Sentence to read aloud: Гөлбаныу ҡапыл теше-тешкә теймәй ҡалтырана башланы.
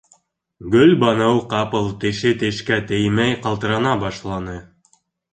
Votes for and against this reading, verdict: 2, 0, accepted